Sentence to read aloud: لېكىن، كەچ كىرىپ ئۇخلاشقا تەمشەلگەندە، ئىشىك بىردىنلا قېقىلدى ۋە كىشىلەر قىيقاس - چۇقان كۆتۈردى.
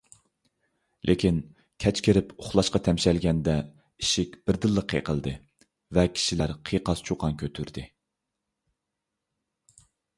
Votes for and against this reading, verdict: 2, 0, accepted